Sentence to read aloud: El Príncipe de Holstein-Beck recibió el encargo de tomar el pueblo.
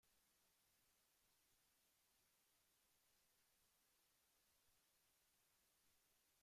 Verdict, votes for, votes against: rejected, 0, 2